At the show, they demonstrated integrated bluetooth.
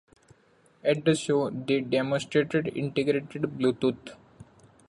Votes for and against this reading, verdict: 2, 1, accepted